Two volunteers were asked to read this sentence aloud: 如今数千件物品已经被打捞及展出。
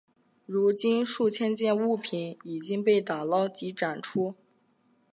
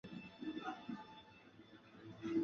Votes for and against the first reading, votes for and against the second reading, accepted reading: 2, 0, 0, 2, first